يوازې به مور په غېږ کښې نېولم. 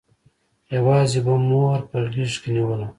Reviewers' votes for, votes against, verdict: 1, 2, rejected